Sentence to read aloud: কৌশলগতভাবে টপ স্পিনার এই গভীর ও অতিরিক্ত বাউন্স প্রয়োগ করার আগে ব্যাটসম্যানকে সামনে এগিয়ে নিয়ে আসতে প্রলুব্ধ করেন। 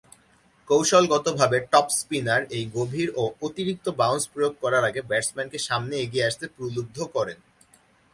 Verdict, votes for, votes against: accepted, 2, 0